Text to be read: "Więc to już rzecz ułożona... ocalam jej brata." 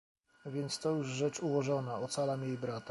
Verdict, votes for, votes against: rejected, 0, 2